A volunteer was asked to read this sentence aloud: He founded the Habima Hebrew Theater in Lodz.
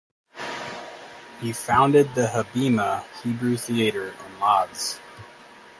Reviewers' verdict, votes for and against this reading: accepted, 2, 0